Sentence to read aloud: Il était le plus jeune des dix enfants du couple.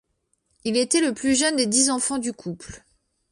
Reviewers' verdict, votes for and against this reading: accepted, 2, 0